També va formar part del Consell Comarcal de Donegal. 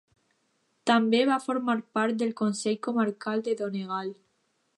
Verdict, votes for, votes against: accepted, 2, 0